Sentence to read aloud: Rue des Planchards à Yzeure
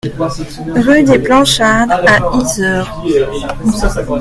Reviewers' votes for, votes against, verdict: 2, 0, accepted